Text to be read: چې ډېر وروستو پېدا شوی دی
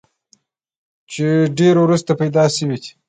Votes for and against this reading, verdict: 2, 1, accepted